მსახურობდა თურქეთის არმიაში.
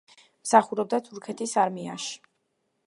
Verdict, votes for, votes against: accepted, 2, 0